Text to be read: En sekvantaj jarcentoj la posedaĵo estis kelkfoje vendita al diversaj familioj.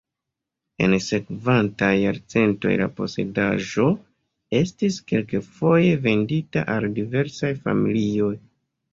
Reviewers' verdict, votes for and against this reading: rejected, 1, 2